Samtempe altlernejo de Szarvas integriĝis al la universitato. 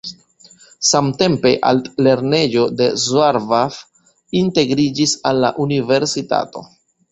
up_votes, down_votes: 2, 0